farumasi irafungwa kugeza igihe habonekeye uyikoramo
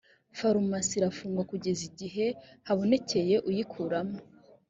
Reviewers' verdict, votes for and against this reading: accepted, 4, 0